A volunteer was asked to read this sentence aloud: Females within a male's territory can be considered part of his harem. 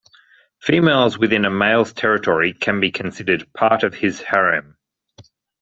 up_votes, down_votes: 2, 0